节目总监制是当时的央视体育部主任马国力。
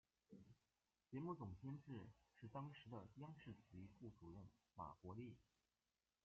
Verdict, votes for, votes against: rejected, 1, 2